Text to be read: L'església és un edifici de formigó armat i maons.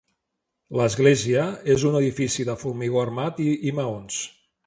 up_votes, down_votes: 1, 2